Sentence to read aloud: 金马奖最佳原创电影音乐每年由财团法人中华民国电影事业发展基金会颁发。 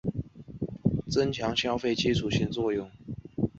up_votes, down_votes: 3, 3